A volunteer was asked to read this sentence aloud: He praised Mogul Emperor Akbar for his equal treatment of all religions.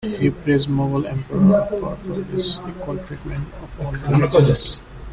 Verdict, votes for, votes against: rejected, 0, 2